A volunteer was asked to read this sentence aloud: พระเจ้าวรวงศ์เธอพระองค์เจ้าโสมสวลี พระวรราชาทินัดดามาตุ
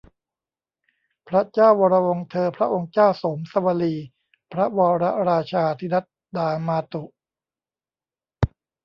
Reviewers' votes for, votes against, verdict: 1, 2, rejected